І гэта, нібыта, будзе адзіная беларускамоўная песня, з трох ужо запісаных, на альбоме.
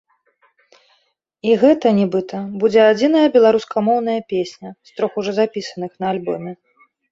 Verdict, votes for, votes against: accepted, 2, 0